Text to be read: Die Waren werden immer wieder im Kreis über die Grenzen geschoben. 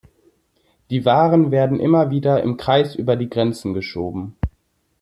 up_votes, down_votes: 2, 0